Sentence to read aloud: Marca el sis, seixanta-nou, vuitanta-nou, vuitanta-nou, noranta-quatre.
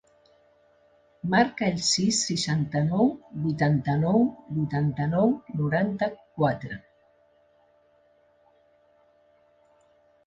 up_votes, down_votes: 1, 2